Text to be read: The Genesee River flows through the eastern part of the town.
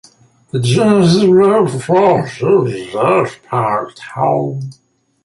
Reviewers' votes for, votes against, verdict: 1, 2, rejected